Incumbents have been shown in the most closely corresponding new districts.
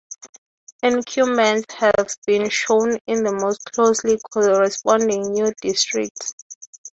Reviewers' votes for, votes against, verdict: 3, 3, rejected